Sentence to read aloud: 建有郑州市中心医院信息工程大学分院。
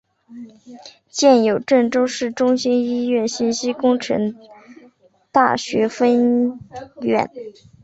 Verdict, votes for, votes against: accepted, 4, 1